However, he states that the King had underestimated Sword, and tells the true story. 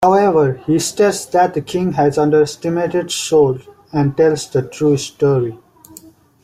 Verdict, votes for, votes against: rejected, 0, 3